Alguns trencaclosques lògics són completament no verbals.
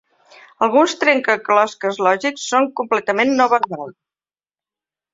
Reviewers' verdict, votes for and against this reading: rejected, 1, 3